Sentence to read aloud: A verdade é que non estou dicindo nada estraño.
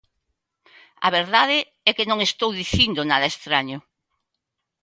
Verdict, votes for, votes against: accepted, 2, 0